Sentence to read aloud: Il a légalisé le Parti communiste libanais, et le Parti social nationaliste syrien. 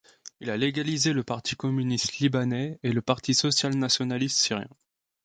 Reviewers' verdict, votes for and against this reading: accepted, 2, 0